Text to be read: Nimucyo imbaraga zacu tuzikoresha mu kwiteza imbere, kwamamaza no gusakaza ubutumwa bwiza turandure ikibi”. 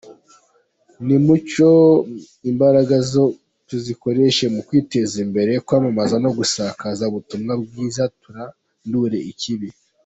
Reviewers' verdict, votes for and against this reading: rejected, 0, 2